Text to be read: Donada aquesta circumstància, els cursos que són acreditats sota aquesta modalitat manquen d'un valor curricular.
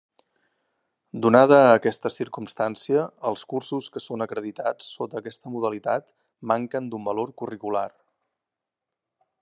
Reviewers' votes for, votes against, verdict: 3, 0, accepted